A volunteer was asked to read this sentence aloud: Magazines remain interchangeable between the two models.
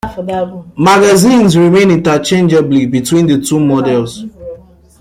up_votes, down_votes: 1, 2